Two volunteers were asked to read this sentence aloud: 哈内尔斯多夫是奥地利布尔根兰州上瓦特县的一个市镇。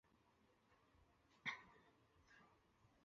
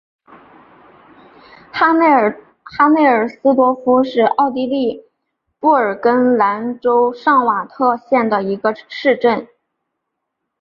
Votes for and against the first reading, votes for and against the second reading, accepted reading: 1, 2, 2, 0, second